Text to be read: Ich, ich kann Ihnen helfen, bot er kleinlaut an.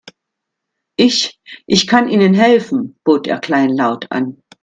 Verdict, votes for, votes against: accepted, 2, 0